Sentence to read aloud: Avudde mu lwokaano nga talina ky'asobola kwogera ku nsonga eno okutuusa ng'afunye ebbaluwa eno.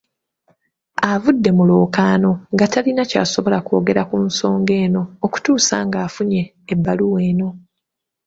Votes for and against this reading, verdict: 2, 0, accepted